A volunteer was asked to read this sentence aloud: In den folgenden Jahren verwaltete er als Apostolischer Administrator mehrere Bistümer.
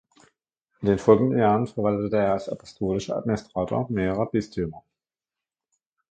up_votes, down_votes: 2, 1